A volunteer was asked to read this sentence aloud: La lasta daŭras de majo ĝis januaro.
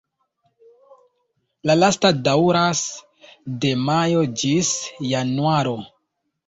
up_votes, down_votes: 1, 2